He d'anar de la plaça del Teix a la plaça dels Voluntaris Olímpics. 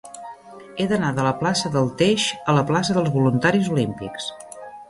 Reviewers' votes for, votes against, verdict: 3, 0, accepted